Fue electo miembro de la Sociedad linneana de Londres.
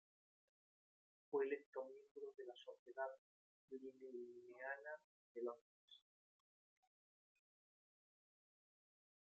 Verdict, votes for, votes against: rejected, 0, 2